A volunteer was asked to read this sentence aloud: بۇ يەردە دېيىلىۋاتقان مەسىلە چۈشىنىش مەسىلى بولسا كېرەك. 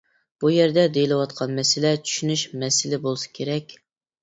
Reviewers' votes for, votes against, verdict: 2, 0, accepted